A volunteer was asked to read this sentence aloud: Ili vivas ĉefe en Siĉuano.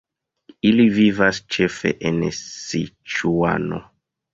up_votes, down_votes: 1, 2